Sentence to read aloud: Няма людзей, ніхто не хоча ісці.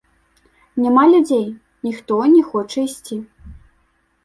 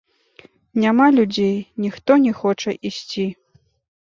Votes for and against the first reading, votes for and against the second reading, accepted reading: 2, 0, 1, 2, first